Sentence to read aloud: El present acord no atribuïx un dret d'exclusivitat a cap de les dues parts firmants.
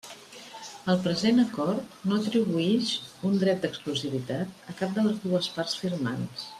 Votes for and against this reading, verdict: 2, 0, accepted